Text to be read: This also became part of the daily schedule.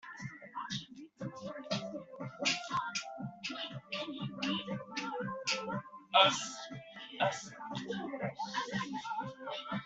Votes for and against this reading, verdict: 0, 2, rejected